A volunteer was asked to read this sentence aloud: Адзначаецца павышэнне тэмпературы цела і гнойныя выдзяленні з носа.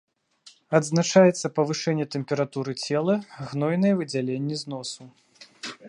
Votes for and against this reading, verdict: 1, 2, rejected